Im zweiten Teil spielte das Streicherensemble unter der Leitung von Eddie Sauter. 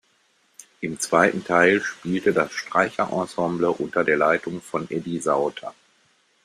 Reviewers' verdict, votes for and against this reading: accepted, 2, 0